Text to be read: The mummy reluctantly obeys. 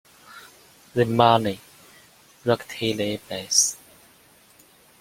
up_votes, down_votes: 0, 2